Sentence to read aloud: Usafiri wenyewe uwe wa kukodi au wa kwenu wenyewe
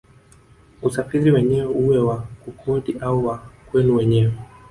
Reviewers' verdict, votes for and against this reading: accepted, 2, 0